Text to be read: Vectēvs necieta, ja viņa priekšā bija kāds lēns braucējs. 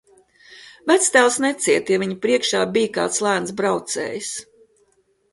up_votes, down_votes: 2, 0